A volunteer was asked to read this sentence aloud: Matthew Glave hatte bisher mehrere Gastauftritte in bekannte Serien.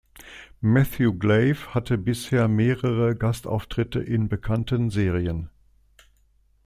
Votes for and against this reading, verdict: 1, 2, rejected